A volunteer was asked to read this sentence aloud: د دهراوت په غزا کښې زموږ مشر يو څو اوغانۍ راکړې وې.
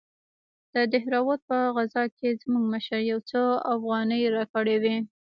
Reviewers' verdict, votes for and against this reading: rejected, 0, 2